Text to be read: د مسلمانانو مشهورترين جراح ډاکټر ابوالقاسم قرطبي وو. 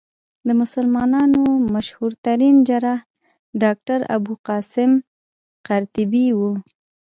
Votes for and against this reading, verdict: 2, 0, accepted